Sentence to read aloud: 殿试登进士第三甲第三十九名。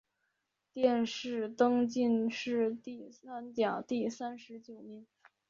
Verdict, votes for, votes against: accepted, 2, 0